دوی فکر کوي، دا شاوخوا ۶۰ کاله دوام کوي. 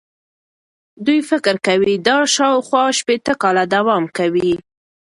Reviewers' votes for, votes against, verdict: 0, 2, rejected